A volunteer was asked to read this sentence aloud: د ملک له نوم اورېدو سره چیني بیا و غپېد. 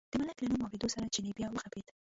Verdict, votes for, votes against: rejected, 0, 2